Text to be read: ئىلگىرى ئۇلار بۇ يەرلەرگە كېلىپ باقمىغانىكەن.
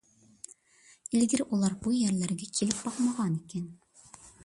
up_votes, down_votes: 2, 0